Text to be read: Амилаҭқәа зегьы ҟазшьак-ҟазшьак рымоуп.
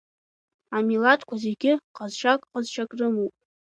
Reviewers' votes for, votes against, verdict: 2, 0, accepted